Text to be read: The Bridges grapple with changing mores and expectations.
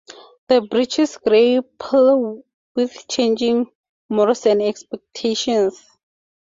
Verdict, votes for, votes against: rejected, 2, 2